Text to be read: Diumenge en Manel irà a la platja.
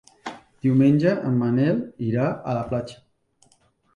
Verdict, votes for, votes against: accepted, 2, 0